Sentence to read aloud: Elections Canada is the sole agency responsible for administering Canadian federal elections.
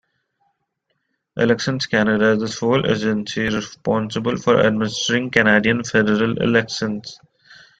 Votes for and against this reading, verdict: 2, 1, accepted